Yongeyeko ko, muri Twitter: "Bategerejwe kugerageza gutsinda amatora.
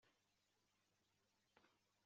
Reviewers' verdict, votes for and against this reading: rejected, 0, 2